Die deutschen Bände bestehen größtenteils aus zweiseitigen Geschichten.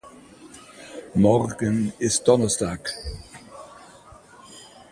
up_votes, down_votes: 0, 2